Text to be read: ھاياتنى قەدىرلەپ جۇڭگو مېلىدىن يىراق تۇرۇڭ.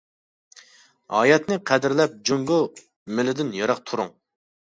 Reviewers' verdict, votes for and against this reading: accepted, 2, 0